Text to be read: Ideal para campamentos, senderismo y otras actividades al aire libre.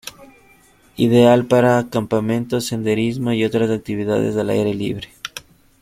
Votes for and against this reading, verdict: 2, 0, accepted